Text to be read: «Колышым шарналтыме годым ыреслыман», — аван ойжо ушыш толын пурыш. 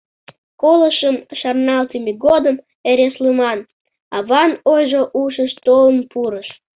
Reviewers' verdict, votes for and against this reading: rejected, 1, 2